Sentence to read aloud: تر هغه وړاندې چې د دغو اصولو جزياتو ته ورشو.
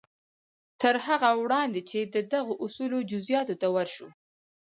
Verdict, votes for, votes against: accepted, 4, 0